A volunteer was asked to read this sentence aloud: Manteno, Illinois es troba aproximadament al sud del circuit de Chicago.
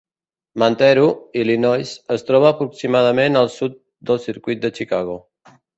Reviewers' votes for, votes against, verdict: 0, 4, rejected